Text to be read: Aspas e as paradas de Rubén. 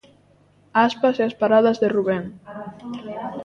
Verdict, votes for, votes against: accepted, 2, 0